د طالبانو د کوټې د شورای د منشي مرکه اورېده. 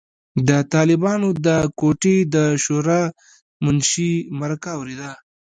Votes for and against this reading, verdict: 2, 1, accepted